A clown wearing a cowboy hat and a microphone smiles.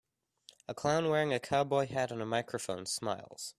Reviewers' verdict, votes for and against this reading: accepted, 2, 0